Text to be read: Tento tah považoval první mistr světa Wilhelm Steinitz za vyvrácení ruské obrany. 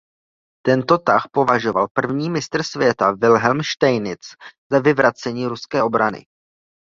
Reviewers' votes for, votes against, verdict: 0, 2, rejected